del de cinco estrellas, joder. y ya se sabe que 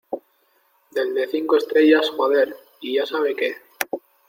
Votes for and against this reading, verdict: 1, 2, rejected